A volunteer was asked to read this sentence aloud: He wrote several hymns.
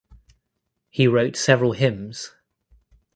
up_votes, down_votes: 2, 0